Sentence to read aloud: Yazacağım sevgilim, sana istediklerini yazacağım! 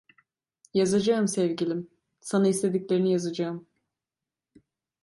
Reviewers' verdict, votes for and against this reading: accepted, 2, 0